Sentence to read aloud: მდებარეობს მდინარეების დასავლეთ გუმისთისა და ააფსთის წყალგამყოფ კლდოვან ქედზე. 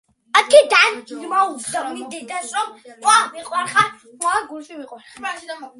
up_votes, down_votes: 0, 2